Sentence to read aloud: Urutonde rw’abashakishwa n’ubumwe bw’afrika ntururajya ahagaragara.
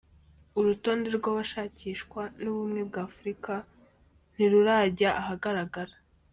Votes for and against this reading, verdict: 2, 0, accepted